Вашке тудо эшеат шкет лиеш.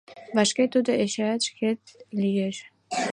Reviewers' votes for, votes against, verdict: 2, 0, accepted